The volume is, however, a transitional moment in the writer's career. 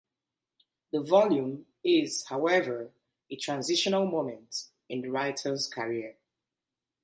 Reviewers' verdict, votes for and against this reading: accepted, 2, 0